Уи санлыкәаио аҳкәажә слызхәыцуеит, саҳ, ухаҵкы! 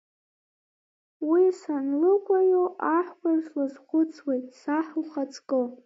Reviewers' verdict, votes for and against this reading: rejected, 1, 2